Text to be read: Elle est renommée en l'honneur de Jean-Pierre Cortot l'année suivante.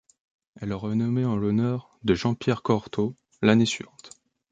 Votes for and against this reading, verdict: 0, 2, rejected